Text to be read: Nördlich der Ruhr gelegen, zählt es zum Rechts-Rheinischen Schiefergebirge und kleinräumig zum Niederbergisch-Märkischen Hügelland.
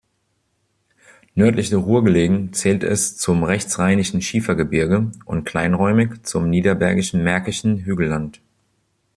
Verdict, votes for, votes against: rejected, 1, 2